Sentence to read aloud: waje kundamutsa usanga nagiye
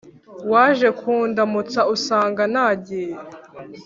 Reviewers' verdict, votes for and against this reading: accepted, 2, 0